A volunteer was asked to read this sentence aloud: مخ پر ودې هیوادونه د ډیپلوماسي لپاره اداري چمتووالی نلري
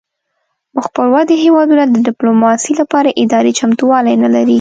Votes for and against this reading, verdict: 2, 0, accepted